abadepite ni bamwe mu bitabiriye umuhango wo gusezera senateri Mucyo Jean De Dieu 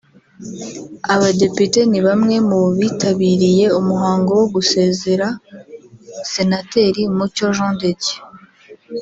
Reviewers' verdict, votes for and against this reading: rejected, 1, 2